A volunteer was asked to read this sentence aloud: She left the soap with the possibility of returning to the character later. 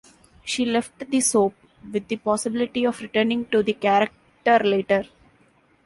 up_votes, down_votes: 2, 0